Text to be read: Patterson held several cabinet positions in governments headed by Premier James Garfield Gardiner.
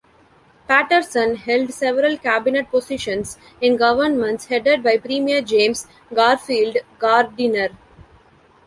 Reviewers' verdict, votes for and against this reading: rejected, 0, 2